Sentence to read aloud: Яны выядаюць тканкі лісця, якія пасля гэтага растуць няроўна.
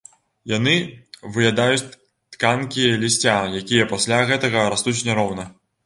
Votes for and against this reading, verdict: 0, 2, rejected